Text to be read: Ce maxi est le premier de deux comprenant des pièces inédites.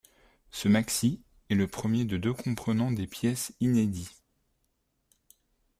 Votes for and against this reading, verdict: 1, 2, rejected